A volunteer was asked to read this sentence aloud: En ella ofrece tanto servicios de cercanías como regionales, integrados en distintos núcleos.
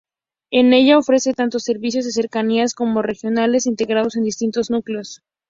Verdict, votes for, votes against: accepted, 2, 0